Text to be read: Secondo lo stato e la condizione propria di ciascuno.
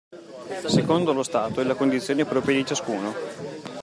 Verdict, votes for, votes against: accepted, 2, 0